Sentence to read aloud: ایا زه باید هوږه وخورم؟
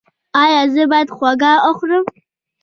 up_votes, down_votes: 2, 0